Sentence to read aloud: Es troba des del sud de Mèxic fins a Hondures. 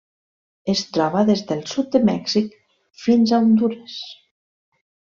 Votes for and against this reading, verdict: 3, 1, accepted